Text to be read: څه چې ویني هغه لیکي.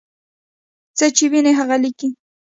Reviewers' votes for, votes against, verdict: 1, 2, rejected